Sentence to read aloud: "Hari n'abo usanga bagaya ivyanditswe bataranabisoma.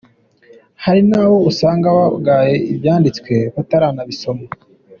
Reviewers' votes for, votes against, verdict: 2, 1, accepted